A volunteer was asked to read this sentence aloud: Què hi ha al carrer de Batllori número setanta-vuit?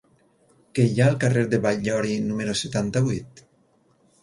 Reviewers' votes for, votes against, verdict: 4, 0, accepted